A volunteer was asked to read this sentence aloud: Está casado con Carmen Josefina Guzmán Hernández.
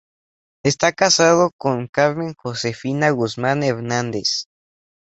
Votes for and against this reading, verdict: 2, 0, accepted